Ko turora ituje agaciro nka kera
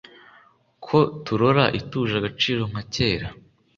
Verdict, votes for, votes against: accepted, 2, 0